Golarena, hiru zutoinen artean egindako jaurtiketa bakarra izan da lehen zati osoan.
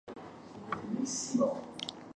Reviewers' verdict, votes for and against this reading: rejected, 0, 3